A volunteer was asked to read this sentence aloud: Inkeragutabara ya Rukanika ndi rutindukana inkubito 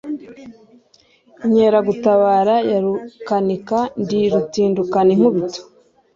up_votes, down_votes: 3, 0